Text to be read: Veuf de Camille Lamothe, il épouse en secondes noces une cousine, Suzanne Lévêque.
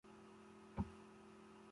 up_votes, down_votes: 0, 2